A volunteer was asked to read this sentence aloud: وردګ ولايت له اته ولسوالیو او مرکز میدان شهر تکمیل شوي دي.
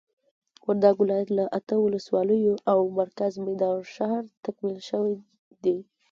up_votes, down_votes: 2, 0